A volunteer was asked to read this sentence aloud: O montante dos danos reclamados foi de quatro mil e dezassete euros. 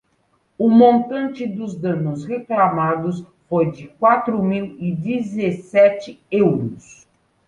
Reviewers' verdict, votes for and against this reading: accepted, 2, 0